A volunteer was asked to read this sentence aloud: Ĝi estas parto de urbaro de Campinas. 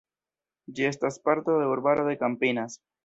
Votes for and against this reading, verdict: 0, 2, rejected